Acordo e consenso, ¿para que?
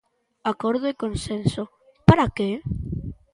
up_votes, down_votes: 3, 0